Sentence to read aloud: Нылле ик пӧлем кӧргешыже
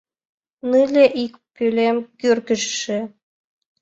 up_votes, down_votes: 3, 2